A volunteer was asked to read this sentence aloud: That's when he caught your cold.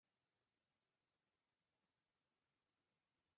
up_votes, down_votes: 0, 2